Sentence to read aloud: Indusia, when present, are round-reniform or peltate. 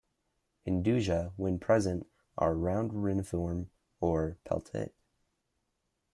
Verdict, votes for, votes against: accepted, 2, 1